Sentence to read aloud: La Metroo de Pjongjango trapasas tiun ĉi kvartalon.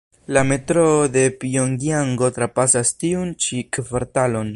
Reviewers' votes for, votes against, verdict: 2, 0, accepted